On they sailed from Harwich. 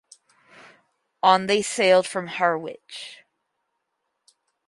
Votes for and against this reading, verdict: 4, 2, accepted